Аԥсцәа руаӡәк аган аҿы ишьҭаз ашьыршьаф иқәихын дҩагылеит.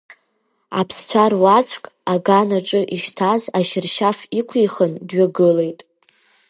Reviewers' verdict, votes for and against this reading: rejected, 1, 2